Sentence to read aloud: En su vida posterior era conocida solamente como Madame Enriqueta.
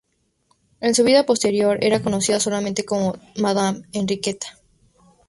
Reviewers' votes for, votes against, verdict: 2, 0, accepted